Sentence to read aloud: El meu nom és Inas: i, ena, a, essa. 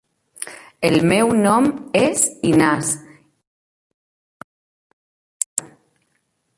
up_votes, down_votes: 0, 2